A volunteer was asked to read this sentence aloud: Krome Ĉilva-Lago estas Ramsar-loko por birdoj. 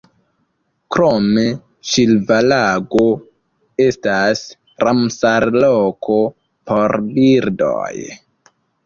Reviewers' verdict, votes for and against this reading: accepted, 2, 1